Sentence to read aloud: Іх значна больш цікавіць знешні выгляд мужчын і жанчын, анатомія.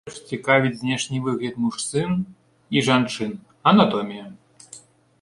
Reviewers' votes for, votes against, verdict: 0, 2, rejected